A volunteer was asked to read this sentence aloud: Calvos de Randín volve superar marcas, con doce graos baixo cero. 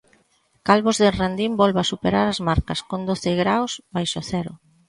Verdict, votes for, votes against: rejected, 0, 2